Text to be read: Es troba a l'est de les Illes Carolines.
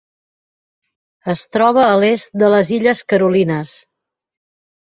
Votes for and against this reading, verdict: 3, 0, accepted